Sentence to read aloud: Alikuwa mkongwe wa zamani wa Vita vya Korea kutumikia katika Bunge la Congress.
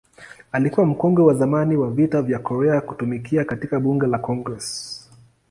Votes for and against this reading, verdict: 2, 0, accepted